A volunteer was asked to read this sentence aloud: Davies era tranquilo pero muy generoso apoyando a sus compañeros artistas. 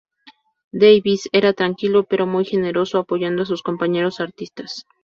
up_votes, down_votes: 0, 2